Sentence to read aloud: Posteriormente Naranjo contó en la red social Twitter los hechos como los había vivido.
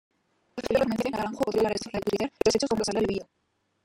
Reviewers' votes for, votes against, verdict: 0, 2, rejected